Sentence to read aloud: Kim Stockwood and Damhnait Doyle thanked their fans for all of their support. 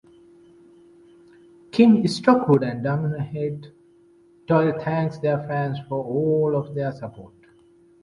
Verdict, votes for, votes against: accepted, 2, 0